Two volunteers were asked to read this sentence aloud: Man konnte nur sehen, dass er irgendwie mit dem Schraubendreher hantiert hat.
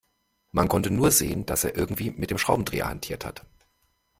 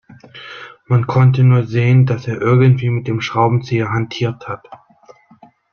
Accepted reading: first